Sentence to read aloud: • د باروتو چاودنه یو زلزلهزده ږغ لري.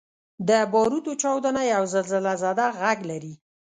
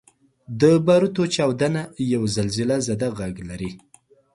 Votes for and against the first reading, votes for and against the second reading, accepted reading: 0, 2, 2, 0, second